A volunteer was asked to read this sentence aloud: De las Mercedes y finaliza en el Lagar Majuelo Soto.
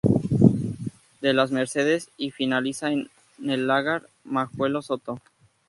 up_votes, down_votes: 0, 2